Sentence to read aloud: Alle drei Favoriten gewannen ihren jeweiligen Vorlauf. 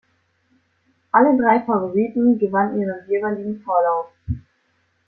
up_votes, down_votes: 2, 0